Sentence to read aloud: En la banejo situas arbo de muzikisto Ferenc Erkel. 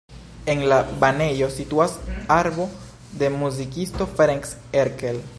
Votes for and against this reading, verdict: 2, 0, accepted